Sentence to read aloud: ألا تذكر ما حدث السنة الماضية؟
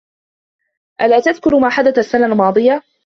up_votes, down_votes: 2, 1